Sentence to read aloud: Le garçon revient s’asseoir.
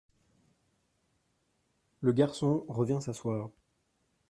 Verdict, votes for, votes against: rejected, 0, 2